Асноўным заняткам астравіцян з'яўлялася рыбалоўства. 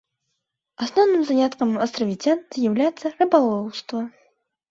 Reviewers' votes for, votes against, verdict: 0, 2, rejected